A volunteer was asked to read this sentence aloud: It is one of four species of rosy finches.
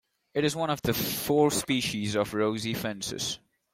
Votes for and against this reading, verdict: 2, 1, accepted